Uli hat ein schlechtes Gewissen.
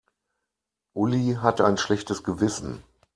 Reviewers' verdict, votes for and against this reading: rejected, 1, 2